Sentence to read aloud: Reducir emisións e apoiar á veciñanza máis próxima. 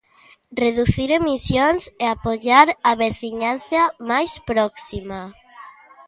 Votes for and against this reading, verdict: 2, 1, accepted